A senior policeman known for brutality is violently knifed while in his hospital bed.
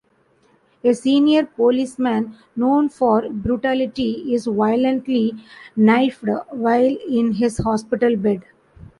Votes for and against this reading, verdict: 0, 2, rejected